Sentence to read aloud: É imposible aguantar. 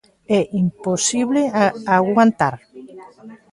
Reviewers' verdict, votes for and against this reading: rejected, 0, 2